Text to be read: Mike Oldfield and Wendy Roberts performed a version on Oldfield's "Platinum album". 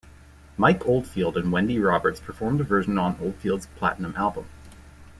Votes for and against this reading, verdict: 2, 1, accepted